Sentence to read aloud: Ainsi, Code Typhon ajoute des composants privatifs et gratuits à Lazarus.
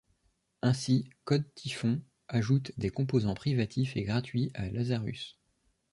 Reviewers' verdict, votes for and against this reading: rejected, 0, 2